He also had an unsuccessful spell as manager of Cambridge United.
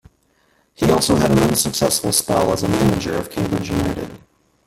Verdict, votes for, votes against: rejected, 0, 2